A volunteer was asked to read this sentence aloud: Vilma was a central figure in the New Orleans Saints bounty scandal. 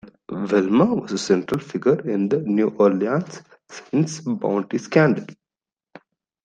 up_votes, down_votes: 0, 2